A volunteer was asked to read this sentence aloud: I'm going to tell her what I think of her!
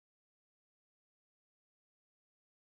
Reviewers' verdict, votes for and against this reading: rejected, 0, 2